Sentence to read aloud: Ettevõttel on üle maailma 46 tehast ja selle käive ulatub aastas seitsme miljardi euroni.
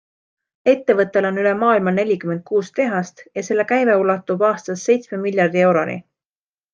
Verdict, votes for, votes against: rejected, 0, 2